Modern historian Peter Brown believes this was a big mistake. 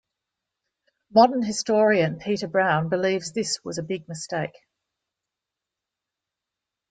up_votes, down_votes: 2, 0